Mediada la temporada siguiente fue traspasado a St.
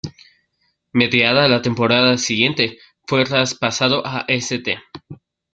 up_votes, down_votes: 2, 0